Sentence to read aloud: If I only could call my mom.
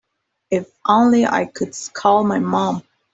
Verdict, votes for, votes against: rejected, 1, 2